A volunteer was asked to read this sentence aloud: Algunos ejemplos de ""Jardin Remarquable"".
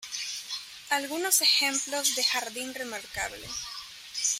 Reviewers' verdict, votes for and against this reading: accepted, 2, 0